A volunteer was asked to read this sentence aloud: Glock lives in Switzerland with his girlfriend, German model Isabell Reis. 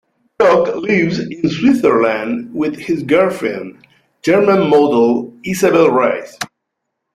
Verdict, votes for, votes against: accepted, 2, 0